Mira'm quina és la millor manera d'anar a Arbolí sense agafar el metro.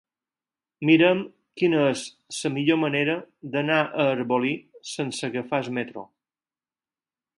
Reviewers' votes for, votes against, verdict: 4, 2, accepted